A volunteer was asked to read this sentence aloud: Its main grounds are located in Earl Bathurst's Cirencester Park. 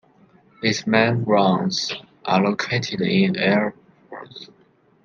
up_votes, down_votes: 1, 2